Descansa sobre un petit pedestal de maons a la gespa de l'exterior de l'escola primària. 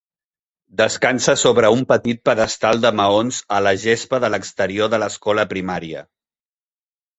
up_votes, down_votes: 3, 0